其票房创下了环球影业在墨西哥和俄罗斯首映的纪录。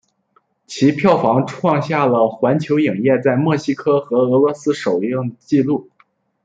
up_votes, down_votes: 3, 0